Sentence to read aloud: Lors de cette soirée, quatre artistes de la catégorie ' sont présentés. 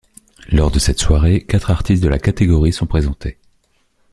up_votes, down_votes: 3, 0